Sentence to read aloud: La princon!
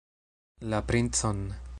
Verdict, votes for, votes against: accepted, 2, 0